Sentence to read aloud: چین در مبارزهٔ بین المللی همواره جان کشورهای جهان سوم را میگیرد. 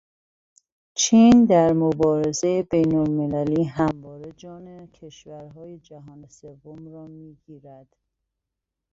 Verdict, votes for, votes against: rejected, 1, 2